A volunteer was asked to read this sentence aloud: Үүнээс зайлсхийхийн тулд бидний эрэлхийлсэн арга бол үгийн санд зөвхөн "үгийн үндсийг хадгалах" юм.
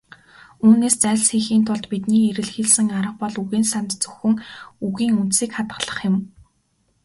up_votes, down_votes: 2, 0